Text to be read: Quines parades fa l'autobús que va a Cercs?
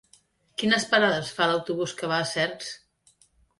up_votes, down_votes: 2, 0